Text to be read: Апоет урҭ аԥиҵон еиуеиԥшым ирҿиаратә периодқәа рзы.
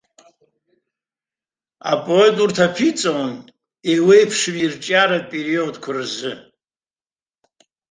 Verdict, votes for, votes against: rejected, 1, 2